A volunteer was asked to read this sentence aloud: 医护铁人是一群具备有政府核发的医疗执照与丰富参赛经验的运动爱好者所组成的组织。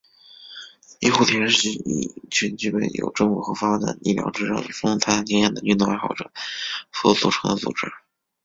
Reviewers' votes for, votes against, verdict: 2, 4, rejected